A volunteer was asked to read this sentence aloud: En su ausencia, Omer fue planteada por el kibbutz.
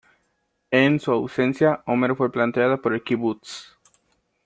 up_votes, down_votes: 2, 0